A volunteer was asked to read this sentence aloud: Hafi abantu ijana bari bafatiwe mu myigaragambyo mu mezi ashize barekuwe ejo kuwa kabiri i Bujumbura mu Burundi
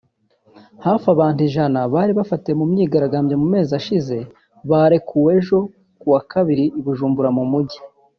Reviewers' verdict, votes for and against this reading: rejected, 1, 2